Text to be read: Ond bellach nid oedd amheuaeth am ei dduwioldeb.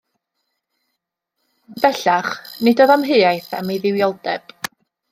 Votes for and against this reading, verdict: 1, 2, rejected